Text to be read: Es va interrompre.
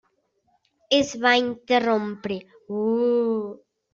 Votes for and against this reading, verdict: 1, 2, rejected